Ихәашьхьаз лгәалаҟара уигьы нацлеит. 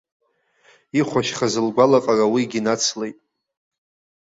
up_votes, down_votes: 2, 0